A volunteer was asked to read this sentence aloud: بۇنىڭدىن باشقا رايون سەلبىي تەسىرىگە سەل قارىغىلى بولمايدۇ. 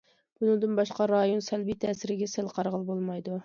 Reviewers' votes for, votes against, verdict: 2, 0, accepted